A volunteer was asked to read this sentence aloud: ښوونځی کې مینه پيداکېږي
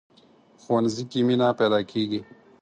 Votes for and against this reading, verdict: 4, 0, accepted